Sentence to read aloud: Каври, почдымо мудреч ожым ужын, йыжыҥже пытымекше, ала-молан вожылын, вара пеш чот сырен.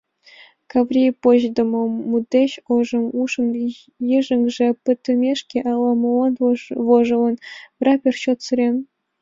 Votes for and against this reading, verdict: 1, 3, rejected